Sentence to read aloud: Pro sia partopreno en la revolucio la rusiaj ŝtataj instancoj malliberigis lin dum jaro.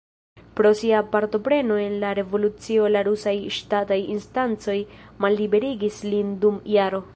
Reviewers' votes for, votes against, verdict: 1, 2, rejected